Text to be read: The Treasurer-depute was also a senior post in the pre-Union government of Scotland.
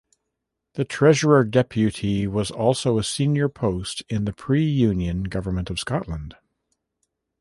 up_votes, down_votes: 2, 0